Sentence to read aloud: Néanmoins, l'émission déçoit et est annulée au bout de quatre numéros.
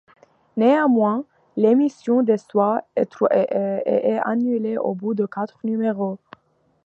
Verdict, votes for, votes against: rejected, 0, 2